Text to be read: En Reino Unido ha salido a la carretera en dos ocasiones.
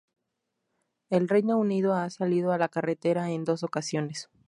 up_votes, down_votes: 0, 2